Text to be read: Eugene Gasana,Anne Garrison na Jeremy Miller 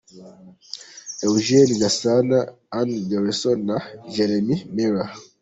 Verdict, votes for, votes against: accepted, 2, 0